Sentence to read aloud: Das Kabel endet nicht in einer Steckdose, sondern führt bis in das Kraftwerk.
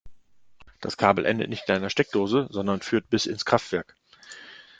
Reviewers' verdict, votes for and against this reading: rejected, 1, 2